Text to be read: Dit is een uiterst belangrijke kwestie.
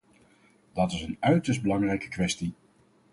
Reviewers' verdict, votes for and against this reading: rejected, 2, 4